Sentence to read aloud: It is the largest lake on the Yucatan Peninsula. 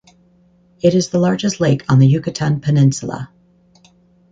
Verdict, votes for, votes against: accepted, 4, 0